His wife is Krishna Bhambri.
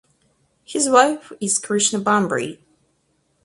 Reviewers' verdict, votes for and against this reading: accepted, 4, 0